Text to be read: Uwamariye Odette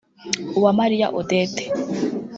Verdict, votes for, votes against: rejected, 1, 2